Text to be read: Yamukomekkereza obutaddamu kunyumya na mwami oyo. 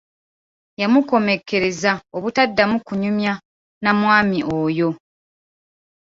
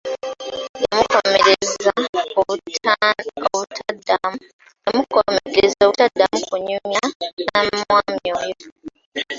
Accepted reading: first